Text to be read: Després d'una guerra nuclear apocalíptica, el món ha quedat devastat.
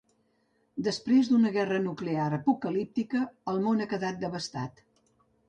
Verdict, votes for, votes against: accepted, 2, 0